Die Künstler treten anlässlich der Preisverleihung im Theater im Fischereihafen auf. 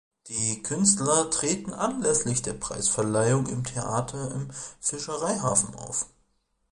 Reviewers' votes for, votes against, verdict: 2, 0, accepted